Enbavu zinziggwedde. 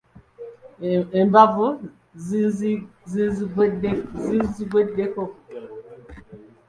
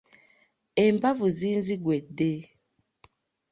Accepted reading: second